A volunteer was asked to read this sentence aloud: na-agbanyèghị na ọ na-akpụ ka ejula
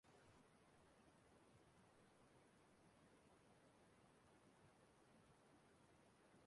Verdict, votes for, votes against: rejected, 0, 2